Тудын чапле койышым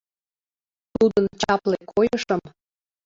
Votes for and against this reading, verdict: 1, 2, rejected